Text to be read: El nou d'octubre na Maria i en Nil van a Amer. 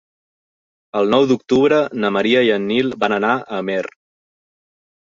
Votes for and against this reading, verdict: 0, 2, rejected